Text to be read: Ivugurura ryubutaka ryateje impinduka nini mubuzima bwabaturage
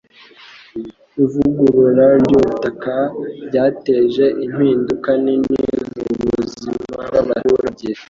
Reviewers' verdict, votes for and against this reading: rejected, 1, 2